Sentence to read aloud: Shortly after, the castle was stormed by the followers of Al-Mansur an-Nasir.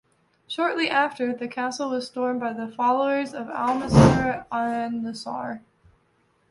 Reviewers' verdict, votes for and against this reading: rejected, 0, 2